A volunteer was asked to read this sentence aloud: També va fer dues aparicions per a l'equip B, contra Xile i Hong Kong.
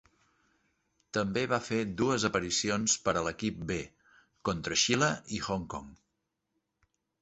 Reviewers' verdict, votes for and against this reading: accepted, 5, 0